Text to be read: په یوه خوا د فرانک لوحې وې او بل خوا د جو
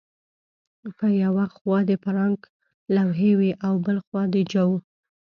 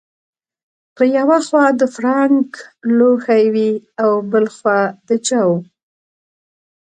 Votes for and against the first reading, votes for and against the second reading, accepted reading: 2, 0, 1, 2, first